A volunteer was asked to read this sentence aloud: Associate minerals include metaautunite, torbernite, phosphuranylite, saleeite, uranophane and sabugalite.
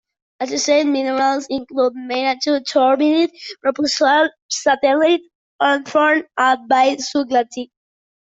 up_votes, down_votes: 0, 2